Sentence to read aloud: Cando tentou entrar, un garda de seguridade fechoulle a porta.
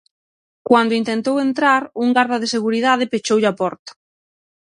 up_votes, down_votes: 0, 6